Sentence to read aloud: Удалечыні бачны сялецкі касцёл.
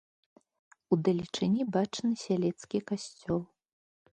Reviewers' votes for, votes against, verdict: 2, 0, accepted